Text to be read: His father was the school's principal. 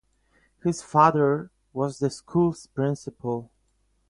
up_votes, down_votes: 4, 0